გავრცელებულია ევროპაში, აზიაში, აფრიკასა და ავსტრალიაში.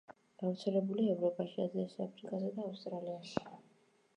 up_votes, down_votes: 1, 2